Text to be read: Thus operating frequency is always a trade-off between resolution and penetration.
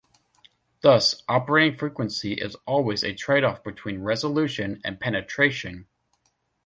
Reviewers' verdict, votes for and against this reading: accepted, 2, 1